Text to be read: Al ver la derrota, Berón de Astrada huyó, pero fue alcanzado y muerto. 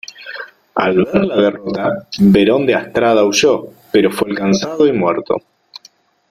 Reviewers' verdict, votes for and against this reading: rejected, 0, 2